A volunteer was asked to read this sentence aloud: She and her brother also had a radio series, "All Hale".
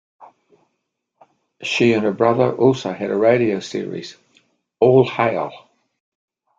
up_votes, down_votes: 2, 0